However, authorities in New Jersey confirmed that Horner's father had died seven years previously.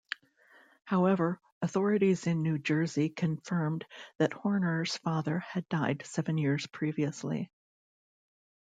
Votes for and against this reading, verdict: 2, 0, accepted